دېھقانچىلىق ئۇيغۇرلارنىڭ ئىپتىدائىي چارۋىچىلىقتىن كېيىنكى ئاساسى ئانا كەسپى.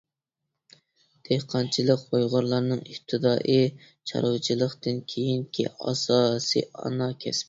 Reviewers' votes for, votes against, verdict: 0, 2, rejected